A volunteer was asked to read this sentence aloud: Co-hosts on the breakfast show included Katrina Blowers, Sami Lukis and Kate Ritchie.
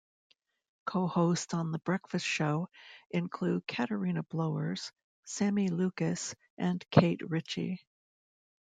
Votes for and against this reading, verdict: 0, 2, rejected